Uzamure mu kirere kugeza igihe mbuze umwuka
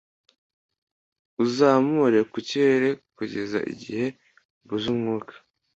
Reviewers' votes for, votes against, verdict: 2, 0, accepted